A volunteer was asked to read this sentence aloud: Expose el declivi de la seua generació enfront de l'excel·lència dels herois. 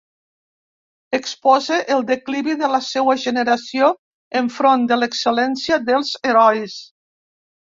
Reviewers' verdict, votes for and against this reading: accepted, 2, 0